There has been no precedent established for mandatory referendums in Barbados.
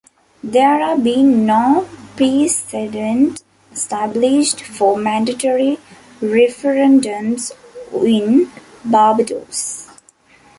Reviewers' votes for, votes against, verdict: 0, 2, rejected